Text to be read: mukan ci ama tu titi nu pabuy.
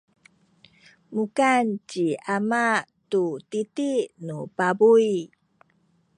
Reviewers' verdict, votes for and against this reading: rejected, 1, 2